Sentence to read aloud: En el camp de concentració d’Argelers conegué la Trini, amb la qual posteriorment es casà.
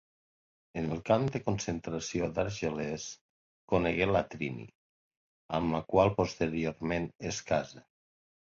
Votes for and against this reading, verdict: 1, 2, rejected